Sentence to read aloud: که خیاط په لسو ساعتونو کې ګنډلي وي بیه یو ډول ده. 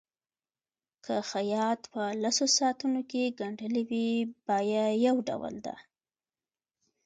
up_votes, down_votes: 2, 1